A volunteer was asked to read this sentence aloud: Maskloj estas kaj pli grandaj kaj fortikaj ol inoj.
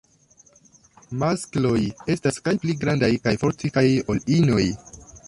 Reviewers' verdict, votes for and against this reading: accepted, 2, 0